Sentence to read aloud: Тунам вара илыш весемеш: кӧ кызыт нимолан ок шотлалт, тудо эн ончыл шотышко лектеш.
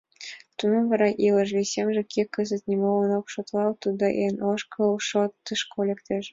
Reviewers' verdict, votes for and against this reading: rejected, 0, 2